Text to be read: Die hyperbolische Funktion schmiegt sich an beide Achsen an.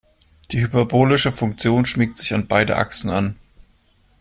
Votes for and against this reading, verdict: 2, 0, accepted